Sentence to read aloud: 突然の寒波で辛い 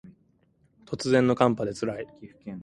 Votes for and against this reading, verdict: 2, 0, accepted